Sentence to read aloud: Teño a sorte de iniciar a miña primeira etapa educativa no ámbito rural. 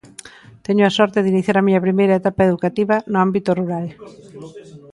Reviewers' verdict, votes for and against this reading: rejected, 0, 2